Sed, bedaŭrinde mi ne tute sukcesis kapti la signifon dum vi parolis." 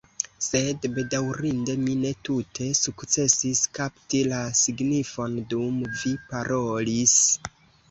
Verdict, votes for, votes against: accepted, 2, 0